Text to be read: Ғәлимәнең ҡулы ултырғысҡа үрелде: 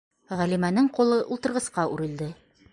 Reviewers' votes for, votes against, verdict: 2, 0, accepted